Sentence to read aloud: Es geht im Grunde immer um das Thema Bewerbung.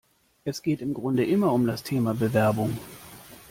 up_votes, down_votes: 3, 0